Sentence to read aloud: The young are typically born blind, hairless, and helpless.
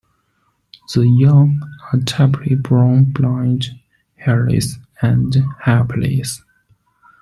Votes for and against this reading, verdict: 0, 2, rejected